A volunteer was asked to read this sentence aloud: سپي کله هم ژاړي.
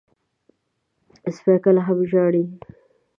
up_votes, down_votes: 1, 2